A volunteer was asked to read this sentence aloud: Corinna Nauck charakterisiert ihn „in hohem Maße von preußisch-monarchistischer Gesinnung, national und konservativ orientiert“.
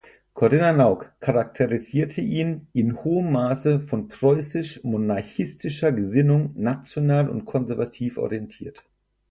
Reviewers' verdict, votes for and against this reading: rejected, 2, 4